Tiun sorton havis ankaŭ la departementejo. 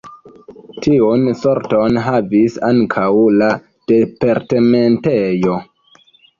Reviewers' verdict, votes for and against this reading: rejected, 1, 2